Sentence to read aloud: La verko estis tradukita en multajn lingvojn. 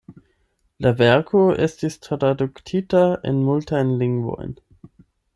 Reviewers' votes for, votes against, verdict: 0, 8, rejected